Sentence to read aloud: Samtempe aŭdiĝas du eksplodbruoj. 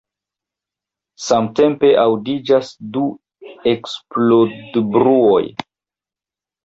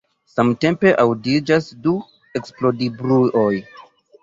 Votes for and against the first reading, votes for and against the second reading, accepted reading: 2, 0, 1, 2, first